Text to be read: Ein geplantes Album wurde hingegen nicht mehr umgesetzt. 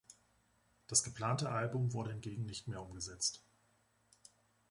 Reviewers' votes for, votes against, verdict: 0, 2, rejected